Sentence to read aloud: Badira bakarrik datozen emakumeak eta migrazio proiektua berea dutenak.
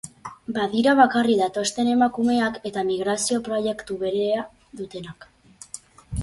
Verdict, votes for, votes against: rejected, 0, 2